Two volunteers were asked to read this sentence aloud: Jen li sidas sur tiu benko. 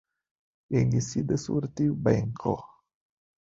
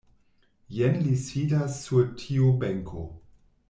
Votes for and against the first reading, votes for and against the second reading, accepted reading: 0, 3, 2, 0, second